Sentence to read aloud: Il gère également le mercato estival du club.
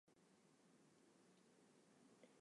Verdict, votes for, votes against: rejected, 0, 2